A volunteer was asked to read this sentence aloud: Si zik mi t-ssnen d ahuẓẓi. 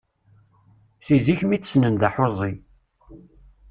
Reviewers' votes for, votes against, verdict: 1, 2, rejected